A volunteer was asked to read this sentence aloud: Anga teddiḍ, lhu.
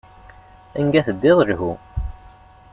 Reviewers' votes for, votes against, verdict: 2, 0, accepted